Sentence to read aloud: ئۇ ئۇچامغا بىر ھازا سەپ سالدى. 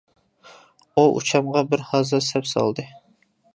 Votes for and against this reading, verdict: 2, 0, accepted